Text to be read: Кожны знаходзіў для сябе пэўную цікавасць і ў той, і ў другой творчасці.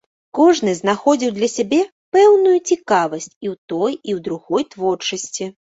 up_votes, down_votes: 2, 0